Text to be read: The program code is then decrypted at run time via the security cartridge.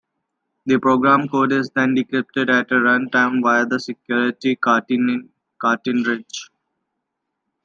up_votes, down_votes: 1, 2